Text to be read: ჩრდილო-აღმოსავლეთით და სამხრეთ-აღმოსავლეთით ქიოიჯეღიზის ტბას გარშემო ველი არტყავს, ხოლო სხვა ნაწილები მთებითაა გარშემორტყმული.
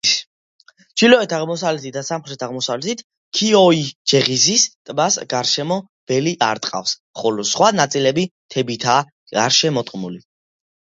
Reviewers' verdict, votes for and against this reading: accepted, 2, 0